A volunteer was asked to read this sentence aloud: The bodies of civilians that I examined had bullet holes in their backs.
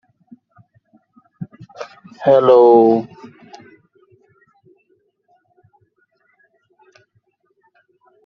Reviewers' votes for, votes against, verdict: 0, 2, rejected